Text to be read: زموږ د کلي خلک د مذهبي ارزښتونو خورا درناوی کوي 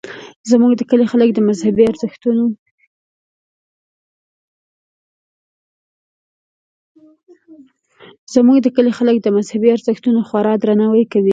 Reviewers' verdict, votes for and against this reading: rejected, 1, 3